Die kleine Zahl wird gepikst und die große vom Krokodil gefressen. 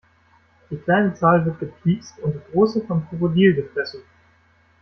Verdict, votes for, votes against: rejected, 1, 2